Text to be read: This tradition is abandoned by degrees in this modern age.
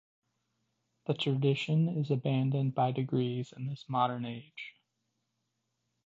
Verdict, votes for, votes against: rejected, 1, 2